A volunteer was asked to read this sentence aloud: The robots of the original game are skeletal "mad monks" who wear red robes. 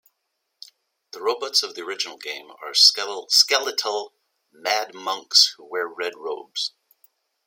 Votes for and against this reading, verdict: 1, 2, rejected